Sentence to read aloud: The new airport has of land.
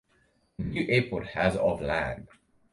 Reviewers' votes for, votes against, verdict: 0, 4, rejected